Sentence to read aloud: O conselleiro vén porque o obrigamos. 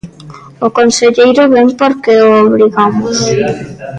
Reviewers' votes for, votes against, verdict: 1, 2, rejected